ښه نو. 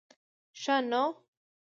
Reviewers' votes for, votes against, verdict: 3, 0, accepted